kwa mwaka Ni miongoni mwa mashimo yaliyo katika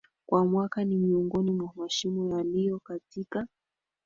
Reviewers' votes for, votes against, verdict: 2, 3, rejected